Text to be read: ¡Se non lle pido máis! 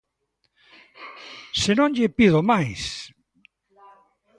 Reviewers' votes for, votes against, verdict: 2, 0, accepted